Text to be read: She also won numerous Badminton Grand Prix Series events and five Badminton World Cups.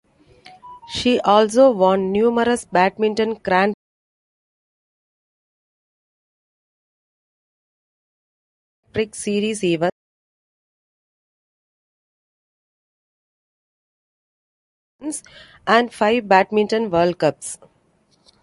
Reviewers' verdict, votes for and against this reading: rejected, 0, 2